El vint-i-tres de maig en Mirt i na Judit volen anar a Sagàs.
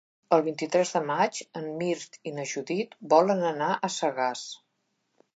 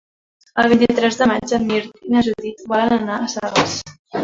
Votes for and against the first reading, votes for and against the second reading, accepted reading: 3, 0, 1, 2, first